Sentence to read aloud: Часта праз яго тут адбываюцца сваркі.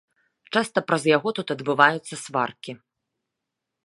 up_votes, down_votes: 2, 0